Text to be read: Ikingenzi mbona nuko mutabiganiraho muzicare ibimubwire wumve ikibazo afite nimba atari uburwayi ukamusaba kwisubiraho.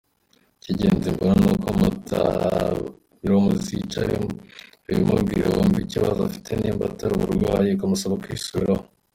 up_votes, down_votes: 2, 0